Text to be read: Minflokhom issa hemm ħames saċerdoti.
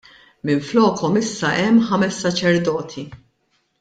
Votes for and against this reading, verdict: 2, 0, accepted